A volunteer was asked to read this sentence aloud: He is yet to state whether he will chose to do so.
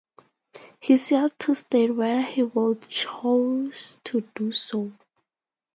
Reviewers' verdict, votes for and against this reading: rejected, 0, 2